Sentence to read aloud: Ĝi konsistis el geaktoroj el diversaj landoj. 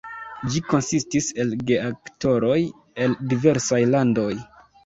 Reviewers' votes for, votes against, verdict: 2, 0, accepted